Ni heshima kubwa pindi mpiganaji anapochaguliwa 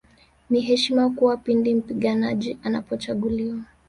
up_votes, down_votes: 2, 1